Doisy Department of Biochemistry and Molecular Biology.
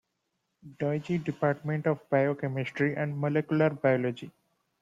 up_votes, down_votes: 0, 2